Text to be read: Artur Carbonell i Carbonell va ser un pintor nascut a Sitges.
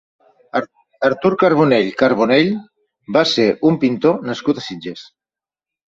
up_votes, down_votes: 1, 2